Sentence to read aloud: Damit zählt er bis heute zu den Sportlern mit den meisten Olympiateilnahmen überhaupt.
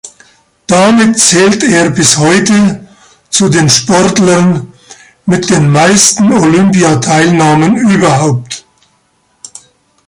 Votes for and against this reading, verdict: 2, 1, accepted